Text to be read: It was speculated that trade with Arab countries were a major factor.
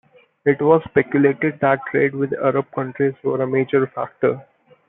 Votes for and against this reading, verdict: 2, 0, accepted